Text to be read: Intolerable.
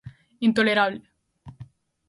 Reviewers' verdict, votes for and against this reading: accepted, 2, 0